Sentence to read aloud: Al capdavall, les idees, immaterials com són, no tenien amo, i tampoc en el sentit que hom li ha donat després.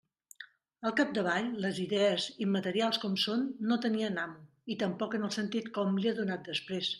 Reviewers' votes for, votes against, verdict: 2, 0, accepted